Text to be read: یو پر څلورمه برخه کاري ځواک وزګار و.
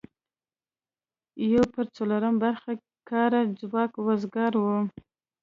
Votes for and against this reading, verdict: 2, 0, accepted